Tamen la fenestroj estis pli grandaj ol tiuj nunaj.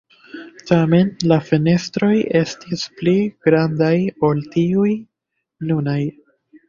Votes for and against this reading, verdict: 2, 0, accepted